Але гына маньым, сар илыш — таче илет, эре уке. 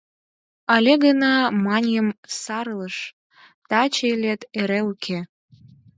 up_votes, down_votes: 4, 0